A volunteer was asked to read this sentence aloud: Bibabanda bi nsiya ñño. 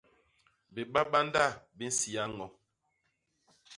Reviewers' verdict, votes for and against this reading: rejected, 0, 2